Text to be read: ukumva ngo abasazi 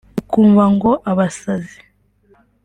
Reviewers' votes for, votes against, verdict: 3, 0, accepted